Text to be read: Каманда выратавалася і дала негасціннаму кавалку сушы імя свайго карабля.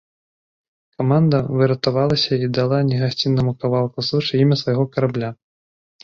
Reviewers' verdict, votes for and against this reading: rejected, 1, 2